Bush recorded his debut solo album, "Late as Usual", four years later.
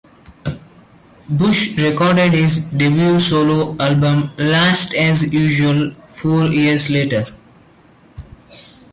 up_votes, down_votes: 0, 2